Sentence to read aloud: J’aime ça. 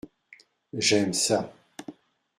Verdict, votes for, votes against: accepted, 2, 0